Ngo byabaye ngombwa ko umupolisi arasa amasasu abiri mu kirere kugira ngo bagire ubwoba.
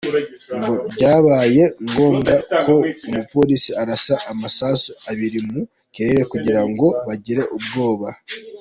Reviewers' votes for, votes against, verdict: 2, 1, accepted